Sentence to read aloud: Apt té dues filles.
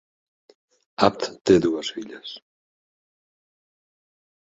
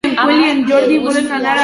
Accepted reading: first